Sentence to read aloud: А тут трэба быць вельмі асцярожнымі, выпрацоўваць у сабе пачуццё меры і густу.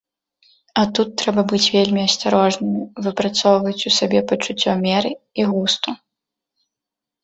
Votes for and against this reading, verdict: 2, 0, accepted